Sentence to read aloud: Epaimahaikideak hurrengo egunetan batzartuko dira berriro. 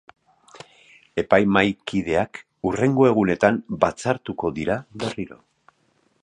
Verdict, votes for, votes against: accepted, 2, 0